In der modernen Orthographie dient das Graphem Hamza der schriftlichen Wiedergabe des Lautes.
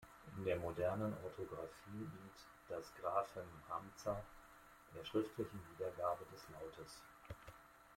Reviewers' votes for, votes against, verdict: 2, 1, accepted